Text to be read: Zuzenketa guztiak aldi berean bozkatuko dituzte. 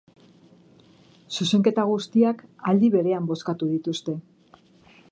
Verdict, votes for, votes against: rejected, 0, 2